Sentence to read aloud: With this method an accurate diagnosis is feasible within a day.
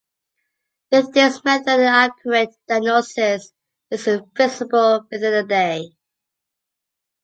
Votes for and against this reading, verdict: 0, 2, rejected